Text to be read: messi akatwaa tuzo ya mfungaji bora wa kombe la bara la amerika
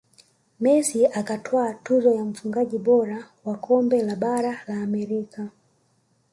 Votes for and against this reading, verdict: 0, 2, rejected